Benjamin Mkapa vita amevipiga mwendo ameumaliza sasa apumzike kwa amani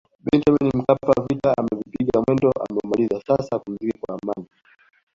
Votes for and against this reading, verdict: 1, 2, rejected